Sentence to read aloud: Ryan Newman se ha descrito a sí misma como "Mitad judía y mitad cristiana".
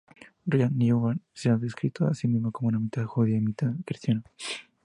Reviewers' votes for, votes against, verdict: 2, 0, accepted